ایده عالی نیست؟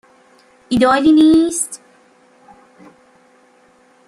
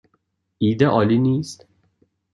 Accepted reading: second